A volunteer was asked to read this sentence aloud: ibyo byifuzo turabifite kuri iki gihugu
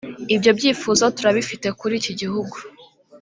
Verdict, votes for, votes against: rejected, 1, 2